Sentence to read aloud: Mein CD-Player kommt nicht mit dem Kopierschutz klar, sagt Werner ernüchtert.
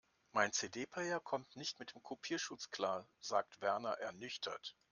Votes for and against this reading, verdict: 2, 0, accepted